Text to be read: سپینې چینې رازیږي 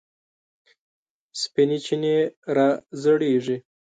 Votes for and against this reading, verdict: 1, 2, rejected